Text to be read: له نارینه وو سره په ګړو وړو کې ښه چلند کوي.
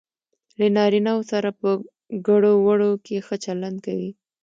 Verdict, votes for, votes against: accepted, 2, 0